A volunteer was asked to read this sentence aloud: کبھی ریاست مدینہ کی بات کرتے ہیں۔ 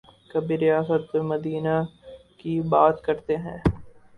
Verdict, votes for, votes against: rejected, 0, 2